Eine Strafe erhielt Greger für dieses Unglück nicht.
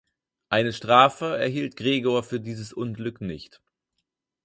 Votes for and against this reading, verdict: 0, 4, rejected